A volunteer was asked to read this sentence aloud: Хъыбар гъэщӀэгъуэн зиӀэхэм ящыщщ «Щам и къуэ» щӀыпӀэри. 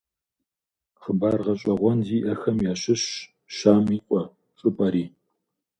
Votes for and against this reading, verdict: 2, 0, accepted